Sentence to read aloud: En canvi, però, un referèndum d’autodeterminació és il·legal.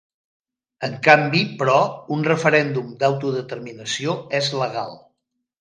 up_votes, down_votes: 0, 2